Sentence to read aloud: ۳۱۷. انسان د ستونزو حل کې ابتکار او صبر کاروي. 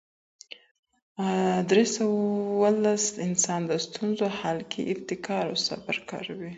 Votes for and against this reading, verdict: 0, 2, rejected